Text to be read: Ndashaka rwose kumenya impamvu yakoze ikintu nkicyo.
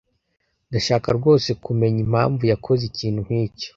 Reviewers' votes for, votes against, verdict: 2, 0, accepted